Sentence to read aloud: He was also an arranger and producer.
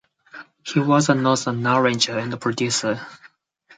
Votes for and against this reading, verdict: 2, 4, rejected